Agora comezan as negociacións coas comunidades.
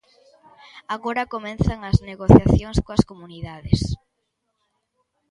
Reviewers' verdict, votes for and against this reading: rejected, 1, 2